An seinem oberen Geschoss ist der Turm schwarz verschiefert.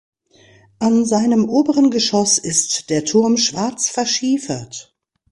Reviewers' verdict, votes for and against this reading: accepted, 2, 0